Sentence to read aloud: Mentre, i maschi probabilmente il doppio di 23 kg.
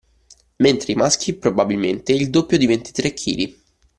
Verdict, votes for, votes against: rejected, 0, 2